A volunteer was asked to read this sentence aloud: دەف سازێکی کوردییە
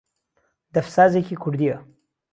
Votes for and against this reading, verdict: 2, 0, accepted